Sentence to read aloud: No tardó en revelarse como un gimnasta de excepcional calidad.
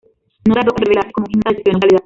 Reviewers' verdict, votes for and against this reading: rejected, 0, 2